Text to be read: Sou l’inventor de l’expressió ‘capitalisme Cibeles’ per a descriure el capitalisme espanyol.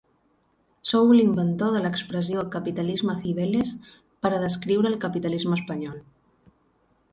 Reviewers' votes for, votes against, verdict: 12, 0, accepted